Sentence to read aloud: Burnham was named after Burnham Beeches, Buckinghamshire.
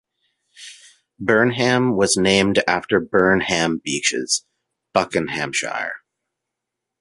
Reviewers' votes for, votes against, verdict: 2, 1, accepted